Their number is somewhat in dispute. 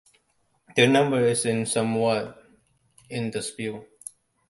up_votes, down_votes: 1, 2